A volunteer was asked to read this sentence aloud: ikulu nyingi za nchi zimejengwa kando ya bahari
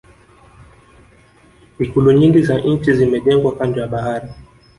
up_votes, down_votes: 2, 1